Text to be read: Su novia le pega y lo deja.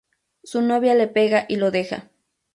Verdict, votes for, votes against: accepted, 2, 0